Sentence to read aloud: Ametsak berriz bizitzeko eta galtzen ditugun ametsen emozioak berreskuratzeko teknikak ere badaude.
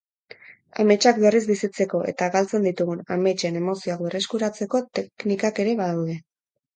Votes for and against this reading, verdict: 2, 0, accepted